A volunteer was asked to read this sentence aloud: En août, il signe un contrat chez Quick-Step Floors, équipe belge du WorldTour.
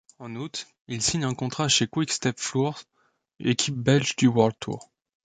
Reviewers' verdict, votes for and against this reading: accepted, 2, 0